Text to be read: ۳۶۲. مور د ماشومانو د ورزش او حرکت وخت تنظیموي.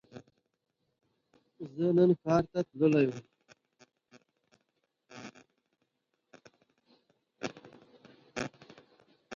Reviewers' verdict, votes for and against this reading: rejected, 0, 2